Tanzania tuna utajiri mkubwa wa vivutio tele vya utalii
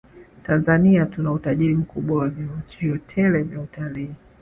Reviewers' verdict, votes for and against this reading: accepted, 2, 0